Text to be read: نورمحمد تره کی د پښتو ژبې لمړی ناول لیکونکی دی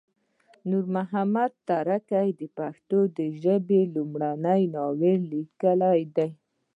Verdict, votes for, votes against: rejected, 1, 2